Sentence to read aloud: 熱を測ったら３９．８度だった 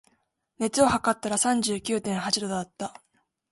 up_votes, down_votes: 0, 2